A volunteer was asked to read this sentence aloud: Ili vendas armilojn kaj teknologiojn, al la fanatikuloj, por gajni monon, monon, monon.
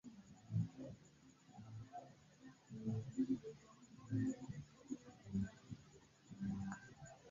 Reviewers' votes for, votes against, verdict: 2, 0, accepted